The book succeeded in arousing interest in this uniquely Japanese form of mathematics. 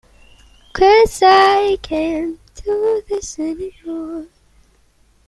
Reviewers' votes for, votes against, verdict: 0, 2, rejected